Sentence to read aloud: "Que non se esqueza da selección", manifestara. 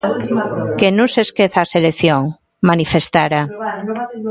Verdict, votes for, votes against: rejected, 0, 2